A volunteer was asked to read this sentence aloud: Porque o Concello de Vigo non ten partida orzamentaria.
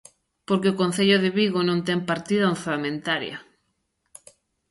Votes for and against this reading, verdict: 2, 0, accepted